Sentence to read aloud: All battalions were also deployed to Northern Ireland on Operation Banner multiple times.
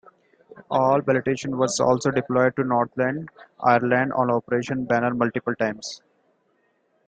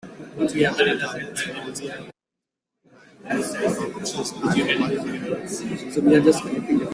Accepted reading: first